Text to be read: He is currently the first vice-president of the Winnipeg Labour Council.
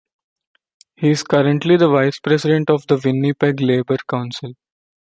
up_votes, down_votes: 1, 2